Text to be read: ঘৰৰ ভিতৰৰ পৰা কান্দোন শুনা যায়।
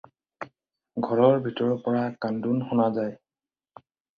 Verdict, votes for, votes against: accepted, 4, 0